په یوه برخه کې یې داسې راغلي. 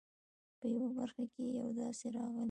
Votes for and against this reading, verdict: 2, 0, accepted